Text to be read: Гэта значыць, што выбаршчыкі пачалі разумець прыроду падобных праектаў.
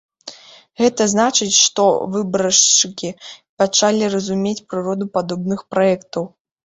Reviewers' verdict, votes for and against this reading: accepted, 2, 1